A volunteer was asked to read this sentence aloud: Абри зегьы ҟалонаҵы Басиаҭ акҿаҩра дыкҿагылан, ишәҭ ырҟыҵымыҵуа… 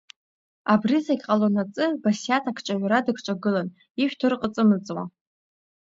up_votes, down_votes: 2, 0